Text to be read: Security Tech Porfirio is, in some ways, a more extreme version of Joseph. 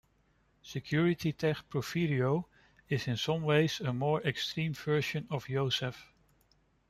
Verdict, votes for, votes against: rejected, 1, 2